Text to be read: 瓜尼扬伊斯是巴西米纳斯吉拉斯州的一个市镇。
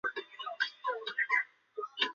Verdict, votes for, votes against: rejected, 0, 4